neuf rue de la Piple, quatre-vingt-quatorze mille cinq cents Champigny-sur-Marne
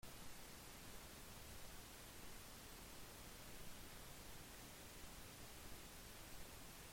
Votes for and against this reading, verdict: 0, 2, rejected